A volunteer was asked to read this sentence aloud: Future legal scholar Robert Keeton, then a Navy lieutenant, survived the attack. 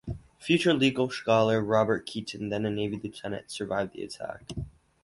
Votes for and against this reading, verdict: 2, 2, rejected